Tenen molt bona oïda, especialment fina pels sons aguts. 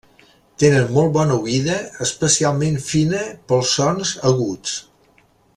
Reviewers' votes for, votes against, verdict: 2, 0, accepted